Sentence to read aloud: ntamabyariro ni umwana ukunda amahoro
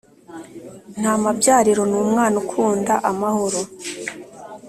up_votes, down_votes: 2, 0